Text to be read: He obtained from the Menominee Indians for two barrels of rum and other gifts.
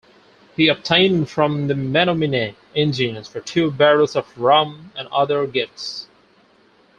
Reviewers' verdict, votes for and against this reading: accepted, 4, 2